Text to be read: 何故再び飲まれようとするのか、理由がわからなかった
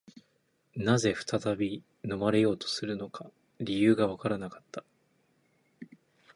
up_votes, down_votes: 12, 1